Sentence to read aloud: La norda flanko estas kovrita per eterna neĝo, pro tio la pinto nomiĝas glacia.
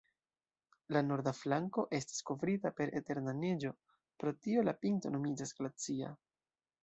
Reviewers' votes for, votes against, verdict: 2, 0, accepted